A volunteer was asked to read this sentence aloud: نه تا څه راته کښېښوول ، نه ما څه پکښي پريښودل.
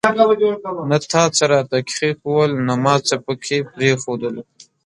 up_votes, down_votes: 0, 2